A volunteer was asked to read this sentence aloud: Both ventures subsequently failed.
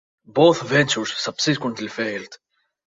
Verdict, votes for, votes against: accepted, 2, 0